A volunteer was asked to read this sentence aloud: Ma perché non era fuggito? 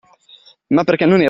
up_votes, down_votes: 0, 2